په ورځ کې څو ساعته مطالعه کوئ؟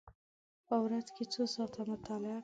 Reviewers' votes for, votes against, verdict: 1, 2, rejected